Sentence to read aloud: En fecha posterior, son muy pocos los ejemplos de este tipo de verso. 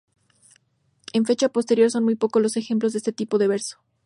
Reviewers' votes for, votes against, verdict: 4, 0, accepted